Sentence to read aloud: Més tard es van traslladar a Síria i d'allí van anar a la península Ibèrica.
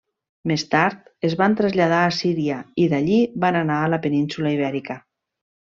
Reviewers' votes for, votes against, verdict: 3, 0, accepted